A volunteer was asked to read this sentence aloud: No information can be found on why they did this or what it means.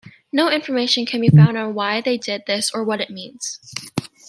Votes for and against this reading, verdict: 2, 0, accepted